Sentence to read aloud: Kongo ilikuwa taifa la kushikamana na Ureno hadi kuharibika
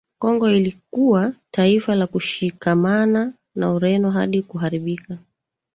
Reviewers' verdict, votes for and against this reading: rejected, 1, 2